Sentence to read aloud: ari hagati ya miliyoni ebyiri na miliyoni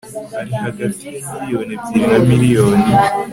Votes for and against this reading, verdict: 2, 0, accepted